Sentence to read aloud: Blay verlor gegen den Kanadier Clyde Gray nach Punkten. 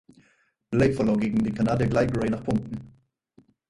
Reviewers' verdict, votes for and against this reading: rejected, 2, 4